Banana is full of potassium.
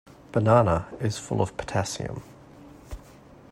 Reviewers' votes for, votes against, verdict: 2, 0, accepted